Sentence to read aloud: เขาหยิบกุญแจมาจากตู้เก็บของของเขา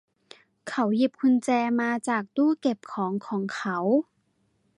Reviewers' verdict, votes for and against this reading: accepted, 2, 0